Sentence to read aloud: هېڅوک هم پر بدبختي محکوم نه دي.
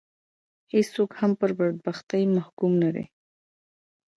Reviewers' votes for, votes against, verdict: 1, 2, rejected